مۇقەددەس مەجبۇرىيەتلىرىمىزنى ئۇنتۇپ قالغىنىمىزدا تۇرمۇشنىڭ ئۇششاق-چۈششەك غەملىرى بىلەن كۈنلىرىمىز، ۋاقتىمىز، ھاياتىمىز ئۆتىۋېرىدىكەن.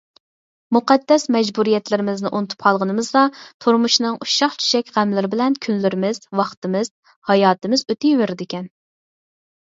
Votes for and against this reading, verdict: 4, 0, accepted